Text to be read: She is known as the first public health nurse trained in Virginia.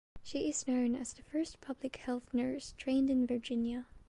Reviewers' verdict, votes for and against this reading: accepted, 2, 1